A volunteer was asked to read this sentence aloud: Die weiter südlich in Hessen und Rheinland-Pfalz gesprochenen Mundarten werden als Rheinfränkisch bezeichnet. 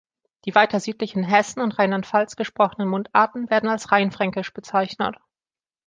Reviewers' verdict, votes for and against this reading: accepted, 2, 0